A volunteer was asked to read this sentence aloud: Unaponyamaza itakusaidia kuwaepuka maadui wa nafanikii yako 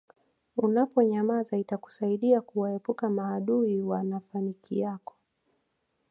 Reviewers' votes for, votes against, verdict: 2, 0, accepted